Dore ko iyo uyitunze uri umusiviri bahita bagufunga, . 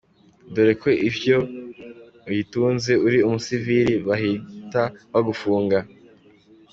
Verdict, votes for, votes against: accepted, 2, 1